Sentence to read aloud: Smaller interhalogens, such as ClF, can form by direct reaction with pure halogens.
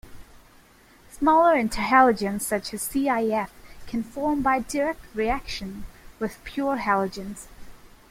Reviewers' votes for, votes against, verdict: 1, 2, rejected